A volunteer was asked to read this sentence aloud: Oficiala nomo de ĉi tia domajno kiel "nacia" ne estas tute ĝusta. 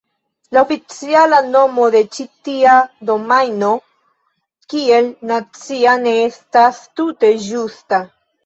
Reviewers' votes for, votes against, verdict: 1, 2, rejected